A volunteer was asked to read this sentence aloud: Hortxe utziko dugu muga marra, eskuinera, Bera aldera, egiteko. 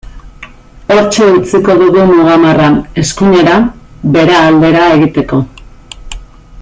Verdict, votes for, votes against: accepted, 2, 0